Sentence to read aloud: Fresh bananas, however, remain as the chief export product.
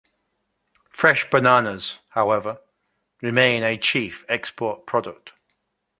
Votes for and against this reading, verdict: 0, 2, rejected